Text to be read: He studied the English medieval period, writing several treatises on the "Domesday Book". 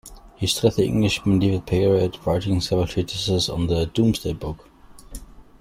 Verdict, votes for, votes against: rejected, 0, 2